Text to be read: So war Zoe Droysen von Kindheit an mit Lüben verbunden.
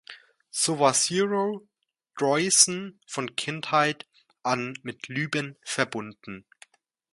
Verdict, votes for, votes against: rejected, 0, 2